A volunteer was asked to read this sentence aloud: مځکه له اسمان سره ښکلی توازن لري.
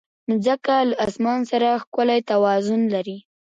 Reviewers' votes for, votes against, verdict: 1, 2, rejected